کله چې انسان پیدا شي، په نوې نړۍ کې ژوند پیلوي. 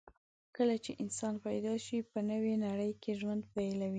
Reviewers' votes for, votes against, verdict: 2, 0, accepted